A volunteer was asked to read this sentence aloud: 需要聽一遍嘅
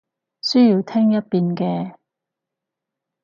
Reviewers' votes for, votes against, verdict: 4, 0, accepted